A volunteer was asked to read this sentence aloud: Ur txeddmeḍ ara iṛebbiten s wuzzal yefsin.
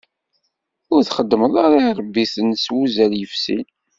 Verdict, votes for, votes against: accepted, 2, 0